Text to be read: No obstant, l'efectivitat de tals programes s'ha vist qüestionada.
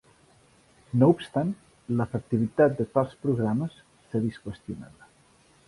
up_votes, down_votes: 2, 0